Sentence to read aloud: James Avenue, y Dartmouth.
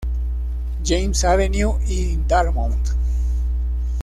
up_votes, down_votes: 1, 2